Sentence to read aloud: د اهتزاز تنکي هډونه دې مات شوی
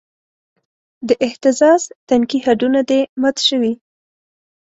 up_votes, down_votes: 2, 0